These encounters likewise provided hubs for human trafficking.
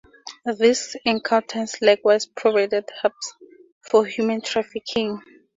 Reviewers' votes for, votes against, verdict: 2, 0, accepted